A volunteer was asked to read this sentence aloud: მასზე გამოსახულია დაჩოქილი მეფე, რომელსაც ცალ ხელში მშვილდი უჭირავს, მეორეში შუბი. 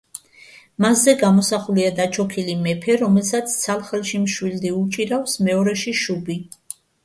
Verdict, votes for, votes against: accepted, 2, 0